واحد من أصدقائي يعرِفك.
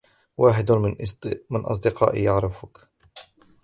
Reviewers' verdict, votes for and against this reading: rejected, 0, 2